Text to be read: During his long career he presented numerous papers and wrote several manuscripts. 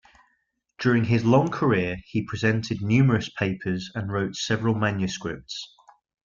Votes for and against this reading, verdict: 2, 0, accepted